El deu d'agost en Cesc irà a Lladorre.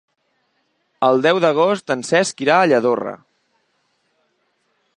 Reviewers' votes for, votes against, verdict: 3, 0, accepted